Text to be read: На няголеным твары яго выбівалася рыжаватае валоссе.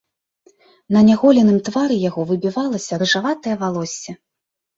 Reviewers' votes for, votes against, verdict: 2, 0, accepted